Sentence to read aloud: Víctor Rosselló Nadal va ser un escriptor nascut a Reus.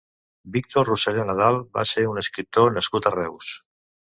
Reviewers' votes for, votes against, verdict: 2, 0, accepted